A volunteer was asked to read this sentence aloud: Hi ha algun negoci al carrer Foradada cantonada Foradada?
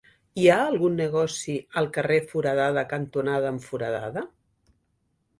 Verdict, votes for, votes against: rejected, 2, 3